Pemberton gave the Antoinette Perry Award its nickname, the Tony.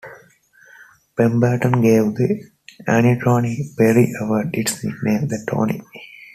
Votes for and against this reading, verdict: 2, 3, rejected